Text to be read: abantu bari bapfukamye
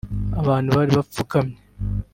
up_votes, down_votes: 0, 2